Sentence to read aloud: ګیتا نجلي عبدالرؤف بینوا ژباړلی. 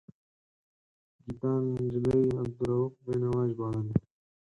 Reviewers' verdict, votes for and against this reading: rejected, 0, 4